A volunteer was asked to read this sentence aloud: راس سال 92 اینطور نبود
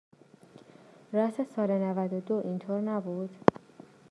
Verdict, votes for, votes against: rejected, 0, 2